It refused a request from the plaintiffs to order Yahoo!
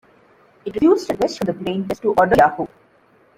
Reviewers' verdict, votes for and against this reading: rejected, 0, 2